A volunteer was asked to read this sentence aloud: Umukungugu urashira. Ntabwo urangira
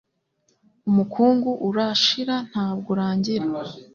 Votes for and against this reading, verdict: 0, 2, rejected